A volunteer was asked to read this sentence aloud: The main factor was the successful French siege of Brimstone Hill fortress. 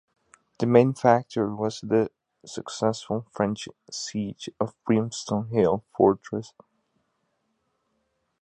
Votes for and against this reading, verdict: 2, 1, accepted